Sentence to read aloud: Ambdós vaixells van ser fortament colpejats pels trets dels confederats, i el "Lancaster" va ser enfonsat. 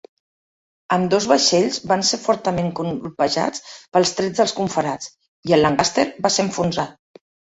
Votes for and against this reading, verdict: 0, 2, rejected